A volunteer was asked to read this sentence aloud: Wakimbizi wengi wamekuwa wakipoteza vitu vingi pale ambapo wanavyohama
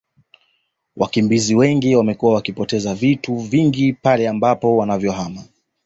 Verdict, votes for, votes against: accepted, 2, 0